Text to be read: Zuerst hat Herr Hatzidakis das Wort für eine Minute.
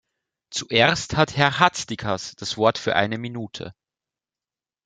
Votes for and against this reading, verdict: 0, 2, rejected